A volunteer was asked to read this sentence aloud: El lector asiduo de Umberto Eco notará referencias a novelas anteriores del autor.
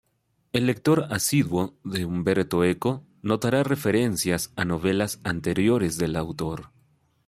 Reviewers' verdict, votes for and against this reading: accepted, 2, 0